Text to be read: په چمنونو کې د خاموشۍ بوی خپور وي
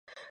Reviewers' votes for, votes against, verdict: 0, 2, rejected